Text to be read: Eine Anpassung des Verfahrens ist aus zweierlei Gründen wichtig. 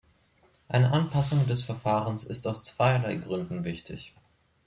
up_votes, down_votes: 2, 0